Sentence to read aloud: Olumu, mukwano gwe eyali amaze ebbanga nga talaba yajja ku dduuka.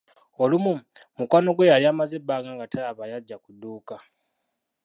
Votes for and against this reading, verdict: 0, 2, rejected